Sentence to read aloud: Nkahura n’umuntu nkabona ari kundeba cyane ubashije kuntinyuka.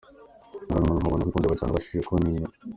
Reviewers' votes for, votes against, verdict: 0, 2, rejected